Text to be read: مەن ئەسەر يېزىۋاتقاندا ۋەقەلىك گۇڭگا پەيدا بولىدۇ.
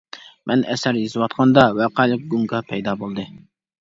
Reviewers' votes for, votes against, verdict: 0, 2, rejected